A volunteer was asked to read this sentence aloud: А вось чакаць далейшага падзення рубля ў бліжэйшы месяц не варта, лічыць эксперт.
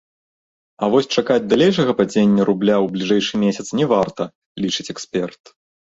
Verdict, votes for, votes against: accepted, 2, 0